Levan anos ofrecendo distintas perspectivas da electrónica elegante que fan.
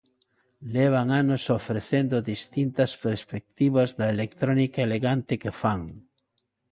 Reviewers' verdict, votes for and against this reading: accepted, 2, 1